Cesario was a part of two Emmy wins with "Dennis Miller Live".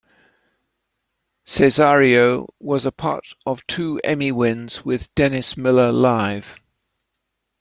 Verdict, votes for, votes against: accepted, 2, 0